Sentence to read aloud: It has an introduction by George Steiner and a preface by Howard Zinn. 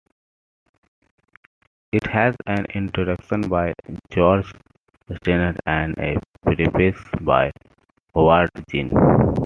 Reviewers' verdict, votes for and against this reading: rejected, 1, 2